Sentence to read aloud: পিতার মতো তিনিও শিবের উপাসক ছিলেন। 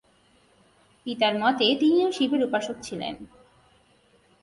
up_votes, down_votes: 1, 2